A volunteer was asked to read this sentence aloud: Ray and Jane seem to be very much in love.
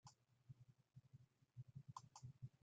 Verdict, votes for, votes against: rejected, 0, 2